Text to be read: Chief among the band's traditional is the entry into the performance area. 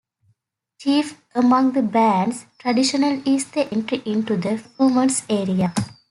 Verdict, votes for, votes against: accepted, 2, 1